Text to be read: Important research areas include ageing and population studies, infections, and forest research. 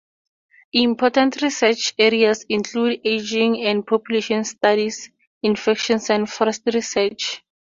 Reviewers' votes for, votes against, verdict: 2, 0, accepted